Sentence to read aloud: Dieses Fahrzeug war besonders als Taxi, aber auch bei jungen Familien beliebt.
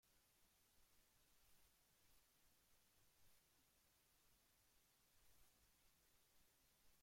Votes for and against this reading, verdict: 0, 2, rejected